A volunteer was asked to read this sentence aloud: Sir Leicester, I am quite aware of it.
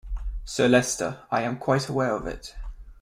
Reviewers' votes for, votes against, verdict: 2, 0, accepted